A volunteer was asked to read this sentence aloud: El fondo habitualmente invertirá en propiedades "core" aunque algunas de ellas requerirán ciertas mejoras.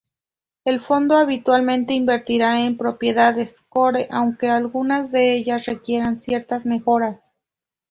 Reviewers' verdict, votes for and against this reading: accepted, 2, 0